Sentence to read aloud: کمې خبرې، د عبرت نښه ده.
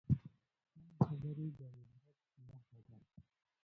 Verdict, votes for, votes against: rejected, 1, 2